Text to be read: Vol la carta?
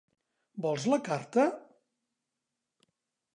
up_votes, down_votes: 1, 2